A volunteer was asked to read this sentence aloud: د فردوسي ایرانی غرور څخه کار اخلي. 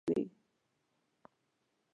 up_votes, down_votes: 0, 2